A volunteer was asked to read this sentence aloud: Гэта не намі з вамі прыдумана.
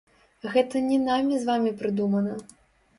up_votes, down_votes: 1, 2